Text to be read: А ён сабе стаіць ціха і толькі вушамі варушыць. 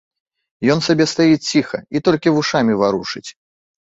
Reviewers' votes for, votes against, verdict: 1, 2, rejected